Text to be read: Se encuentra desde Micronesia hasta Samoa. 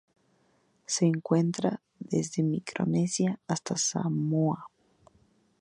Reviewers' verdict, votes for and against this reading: accepted, 2, 0